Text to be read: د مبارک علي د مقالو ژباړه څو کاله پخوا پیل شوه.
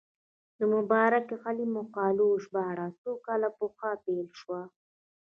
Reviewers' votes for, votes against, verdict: 2, 0, accepted